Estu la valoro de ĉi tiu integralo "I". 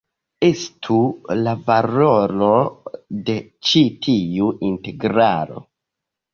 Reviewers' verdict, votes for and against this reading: accepted, 2, 1